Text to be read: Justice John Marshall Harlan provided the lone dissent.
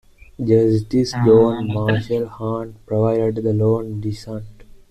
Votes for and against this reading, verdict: 2, 1, accepted